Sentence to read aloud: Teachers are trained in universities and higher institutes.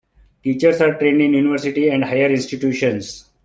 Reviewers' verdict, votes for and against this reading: rejected, 1, 2